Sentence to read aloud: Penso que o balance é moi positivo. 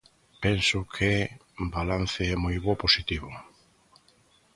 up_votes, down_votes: 0, 2